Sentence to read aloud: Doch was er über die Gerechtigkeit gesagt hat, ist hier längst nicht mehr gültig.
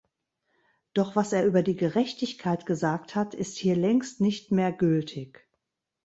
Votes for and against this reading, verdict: 2, 0, accepted